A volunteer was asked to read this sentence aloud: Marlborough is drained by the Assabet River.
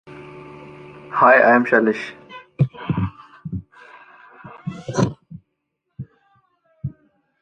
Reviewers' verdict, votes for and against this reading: rejected, 0, 2